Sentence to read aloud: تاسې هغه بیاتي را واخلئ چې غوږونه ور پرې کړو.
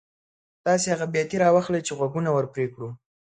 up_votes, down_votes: 2, 0